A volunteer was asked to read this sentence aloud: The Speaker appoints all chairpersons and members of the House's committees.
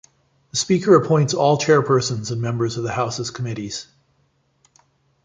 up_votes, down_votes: 2, 0